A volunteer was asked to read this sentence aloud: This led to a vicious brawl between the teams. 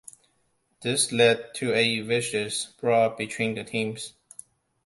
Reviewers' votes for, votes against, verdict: 2, 0, accepted